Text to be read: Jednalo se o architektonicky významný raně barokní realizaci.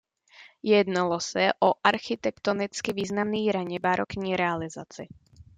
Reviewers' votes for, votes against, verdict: 2, 0, accepted